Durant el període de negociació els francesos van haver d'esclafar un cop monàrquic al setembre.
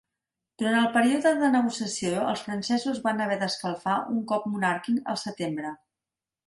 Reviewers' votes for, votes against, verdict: 1, 3, rejected